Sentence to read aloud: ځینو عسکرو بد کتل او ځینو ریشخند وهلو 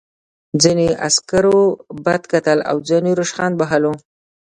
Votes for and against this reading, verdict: 0, 2, rejected